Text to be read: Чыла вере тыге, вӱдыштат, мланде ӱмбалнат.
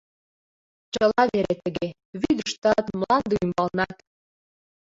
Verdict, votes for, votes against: accepted, 2, 1